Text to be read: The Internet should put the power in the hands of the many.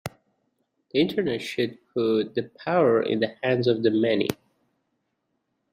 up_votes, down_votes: 2, 1